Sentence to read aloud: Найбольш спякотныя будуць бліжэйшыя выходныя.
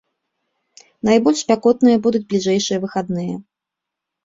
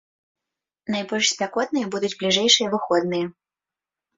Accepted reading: second